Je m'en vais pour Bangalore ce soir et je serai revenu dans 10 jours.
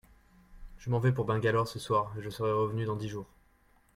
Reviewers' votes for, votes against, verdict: 0, 2, rejected